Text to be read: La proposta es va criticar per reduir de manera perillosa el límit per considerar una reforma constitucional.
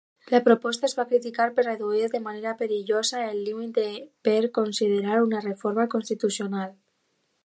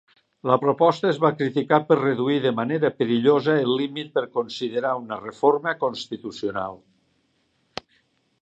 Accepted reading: second